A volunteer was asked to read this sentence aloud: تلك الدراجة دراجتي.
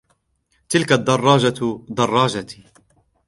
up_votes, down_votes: 3, 0